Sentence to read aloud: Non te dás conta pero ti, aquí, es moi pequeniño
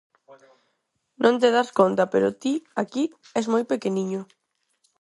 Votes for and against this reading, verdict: 4, 0, accepted